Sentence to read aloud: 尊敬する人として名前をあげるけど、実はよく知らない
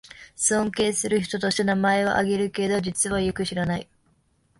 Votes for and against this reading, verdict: 0, 2, rejected